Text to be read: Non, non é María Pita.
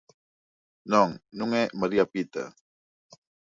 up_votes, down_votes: 2, 0